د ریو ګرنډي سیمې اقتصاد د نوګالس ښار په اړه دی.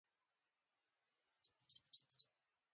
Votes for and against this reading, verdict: 0, 2, rejected